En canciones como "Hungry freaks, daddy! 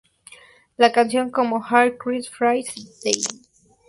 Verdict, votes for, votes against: rejected, 0, 2